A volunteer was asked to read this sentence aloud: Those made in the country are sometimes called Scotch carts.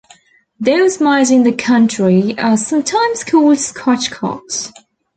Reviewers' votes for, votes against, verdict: 0, 2, rejected